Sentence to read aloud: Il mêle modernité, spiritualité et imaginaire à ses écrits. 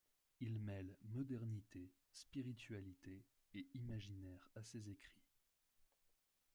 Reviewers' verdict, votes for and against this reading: accepted, 2, 0